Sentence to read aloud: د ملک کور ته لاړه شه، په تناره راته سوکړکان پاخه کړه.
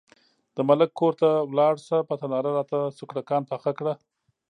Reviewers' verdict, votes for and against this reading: accepted, 2, 0